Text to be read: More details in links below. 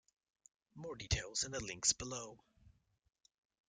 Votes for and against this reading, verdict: 1, 2, rejected